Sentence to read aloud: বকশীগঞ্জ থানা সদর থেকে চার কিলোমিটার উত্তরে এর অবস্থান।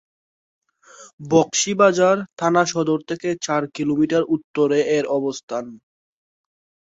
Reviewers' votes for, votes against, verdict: 0, 3, rejected